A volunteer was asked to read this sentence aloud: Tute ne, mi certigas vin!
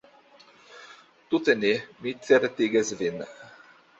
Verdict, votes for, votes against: accepted, 2, 0